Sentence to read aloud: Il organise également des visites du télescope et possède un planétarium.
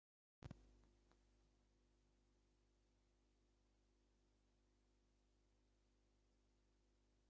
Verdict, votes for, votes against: rejected, 0, 2